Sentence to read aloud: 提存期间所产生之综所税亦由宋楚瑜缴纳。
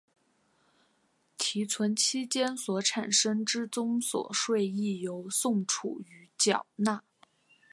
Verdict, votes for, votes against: accepted, 2, 1